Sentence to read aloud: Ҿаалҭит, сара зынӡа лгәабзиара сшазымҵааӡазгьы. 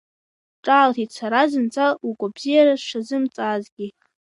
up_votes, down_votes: 0, 2